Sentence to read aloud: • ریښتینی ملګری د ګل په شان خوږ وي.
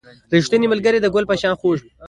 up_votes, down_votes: 2, 0